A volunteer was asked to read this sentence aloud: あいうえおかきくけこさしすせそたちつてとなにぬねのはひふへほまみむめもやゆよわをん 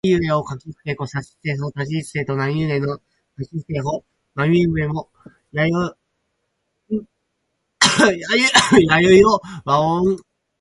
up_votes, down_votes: 2, 4